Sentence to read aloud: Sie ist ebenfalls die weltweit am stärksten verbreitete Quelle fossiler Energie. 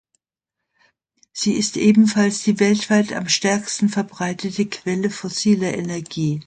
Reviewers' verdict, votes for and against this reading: accepted, 2, 0